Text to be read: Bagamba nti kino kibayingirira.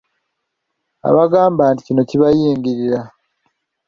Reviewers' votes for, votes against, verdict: 0, 2, rejected